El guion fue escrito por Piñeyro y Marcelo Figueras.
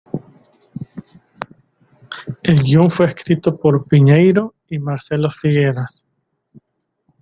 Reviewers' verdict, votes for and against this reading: accepted, 2, 1